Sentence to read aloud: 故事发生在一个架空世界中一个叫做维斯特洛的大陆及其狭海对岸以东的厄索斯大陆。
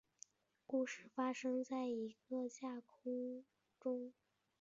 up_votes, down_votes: 0, 2